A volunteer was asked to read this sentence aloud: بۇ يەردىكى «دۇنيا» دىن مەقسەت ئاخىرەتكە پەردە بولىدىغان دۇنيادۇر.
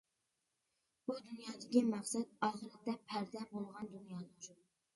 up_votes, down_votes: 1, 2